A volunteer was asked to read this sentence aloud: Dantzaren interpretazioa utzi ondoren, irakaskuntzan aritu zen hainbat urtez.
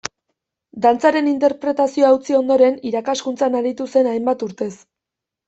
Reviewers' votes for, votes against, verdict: 2, 0, accepted